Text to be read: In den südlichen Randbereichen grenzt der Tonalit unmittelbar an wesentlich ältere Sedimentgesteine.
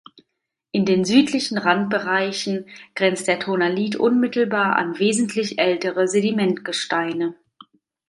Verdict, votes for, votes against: accepted, 2, 0